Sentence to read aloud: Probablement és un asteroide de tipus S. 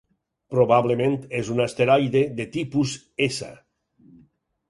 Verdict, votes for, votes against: accepted, 6, 0